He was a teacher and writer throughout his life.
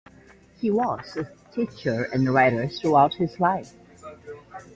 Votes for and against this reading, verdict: 2, 0, accepted